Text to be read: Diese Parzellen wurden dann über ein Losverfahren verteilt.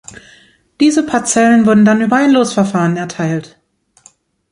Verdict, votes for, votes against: rejected, 1, 2